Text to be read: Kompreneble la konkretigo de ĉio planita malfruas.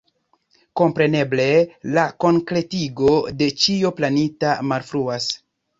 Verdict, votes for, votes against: accepted, 2, 0